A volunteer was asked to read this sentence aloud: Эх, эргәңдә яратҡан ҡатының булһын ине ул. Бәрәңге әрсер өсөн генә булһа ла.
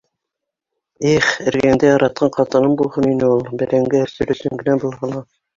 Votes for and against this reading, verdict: 2, 0, accepted